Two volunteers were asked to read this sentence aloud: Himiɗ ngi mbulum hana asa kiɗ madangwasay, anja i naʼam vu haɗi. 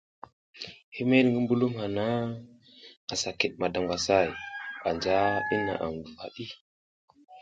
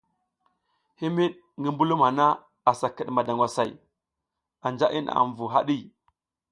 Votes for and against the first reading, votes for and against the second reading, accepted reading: 0, 2, 2, 0, second